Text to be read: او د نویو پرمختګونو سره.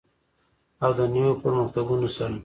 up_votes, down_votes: 2, 1